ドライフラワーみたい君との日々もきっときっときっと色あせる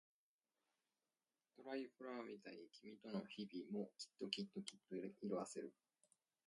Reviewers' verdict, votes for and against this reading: rejected, 1, 2